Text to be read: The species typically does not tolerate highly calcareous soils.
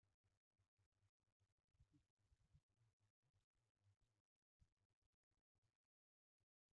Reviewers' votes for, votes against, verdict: 0, 2, rejected